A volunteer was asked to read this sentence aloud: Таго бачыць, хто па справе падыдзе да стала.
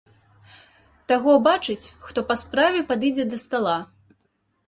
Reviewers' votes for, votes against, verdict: 2, 0, accepted